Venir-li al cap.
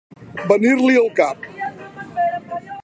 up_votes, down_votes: 2, 1